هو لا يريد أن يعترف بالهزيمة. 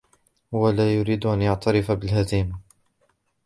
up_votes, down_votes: 1, 2